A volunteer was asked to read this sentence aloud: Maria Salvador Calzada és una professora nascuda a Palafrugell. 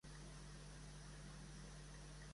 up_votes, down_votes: 0, 3